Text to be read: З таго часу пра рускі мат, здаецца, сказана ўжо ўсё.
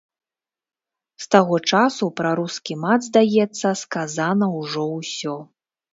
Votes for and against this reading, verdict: 2, 0, accepted